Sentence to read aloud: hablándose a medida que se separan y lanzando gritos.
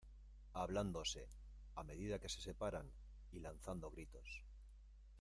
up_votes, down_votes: 1, 2